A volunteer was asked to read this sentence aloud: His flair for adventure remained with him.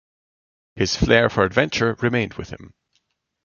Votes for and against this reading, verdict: 2, 1, accepted